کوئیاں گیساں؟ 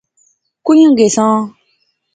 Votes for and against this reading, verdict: 2, 0, accepted